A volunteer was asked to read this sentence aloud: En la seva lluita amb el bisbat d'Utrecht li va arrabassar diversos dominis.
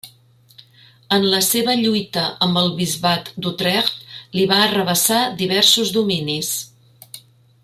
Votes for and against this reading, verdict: 1, 2, rejected